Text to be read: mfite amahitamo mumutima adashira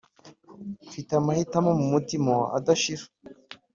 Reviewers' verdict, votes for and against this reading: accepted, 2, 0